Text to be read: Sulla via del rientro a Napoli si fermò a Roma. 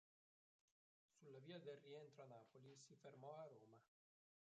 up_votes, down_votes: 0, 3